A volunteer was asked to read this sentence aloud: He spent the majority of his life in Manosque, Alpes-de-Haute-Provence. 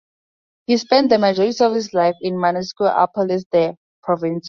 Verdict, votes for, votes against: rejected, 0, 2